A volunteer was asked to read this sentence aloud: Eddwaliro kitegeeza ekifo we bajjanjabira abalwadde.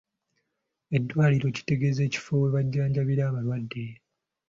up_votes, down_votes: 2, 0